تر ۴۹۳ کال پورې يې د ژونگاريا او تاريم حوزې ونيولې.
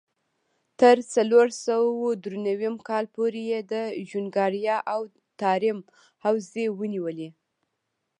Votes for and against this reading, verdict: 0, 2, rejected